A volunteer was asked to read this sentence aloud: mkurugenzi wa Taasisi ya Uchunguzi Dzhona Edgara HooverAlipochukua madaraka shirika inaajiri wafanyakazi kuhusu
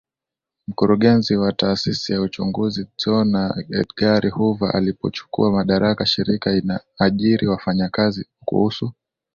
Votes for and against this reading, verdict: 15, 3, accepted